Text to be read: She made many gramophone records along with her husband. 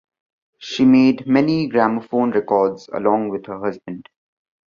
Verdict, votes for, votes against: accepted, 2, 1